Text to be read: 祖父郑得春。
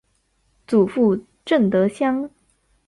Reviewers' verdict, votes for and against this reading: rejected, 1, 2